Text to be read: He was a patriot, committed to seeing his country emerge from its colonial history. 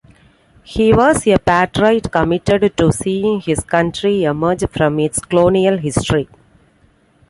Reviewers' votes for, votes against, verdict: 0, 2, rejected